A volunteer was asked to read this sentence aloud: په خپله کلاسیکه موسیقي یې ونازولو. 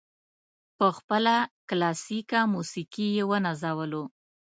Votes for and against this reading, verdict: 2, 0, accepted